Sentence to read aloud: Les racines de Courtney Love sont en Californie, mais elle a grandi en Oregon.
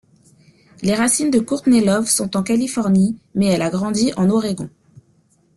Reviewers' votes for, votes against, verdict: 2, 0, accepted